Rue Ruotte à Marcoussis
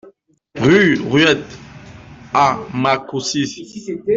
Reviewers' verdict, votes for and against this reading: rejected, 1, 2